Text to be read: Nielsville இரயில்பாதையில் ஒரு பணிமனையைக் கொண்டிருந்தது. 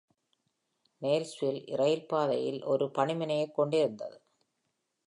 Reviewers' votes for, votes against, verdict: 1, 2, rejected